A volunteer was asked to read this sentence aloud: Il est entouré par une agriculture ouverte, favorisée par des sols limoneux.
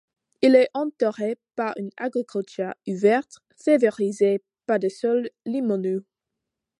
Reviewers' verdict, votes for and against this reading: accepted, 2, 1